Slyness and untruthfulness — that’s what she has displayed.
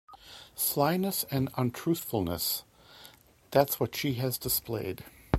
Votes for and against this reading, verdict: 2, 0, accepted